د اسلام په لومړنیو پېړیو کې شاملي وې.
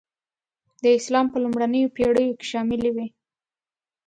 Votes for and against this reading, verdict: 2, 0, accepted